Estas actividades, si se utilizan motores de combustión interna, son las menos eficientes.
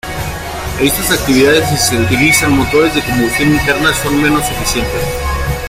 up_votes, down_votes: 1, 2